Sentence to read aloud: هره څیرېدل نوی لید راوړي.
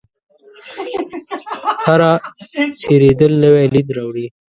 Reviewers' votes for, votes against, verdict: 1, 2, rejected